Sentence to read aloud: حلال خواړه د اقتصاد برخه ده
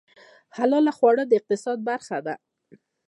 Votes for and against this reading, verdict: 2, 1, accepted